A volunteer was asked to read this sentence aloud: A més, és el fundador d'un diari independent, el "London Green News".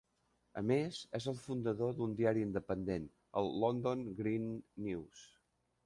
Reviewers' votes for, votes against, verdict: 3, 0, accepted